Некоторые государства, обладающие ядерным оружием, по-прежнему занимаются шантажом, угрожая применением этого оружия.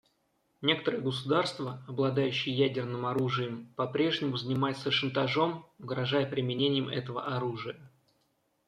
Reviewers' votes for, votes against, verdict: 2, 0, accepted